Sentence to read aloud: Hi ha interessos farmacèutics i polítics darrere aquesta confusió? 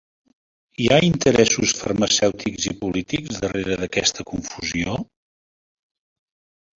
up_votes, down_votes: 2, 1